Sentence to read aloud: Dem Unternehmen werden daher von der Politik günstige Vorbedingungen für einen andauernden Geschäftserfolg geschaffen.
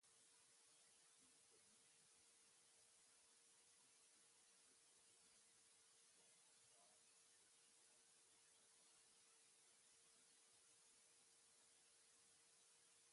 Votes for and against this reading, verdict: 0, 2, rejected